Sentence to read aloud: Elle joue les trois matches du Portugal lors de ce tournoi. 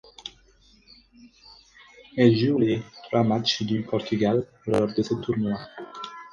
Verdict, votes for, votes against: accepted, 4, 0